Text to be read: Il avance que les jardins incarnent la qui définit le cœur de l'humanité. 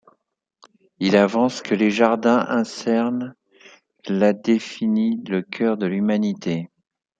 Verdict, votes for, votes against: rejected, 0, 2